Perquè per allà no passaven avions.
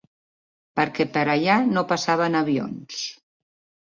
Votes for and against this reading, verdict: 2, 0, accepted